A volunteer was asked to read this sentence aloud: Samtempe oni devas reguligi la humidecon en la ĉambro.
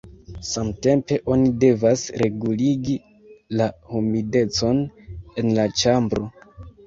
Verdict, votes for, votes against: rejected, 1, 2